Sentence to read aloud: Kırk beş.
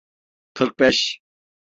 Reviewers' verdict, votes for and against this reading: accepted, 3, 0